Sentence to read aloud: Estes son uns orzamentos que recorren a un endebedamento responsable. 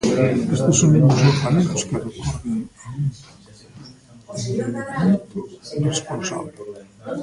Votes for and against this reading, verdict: 1, 2, rejected